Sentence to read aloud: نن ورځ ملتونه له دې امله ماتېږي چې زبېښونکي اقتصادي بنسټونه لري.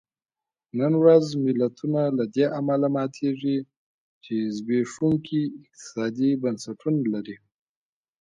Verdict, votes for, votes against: accepted, 2, 0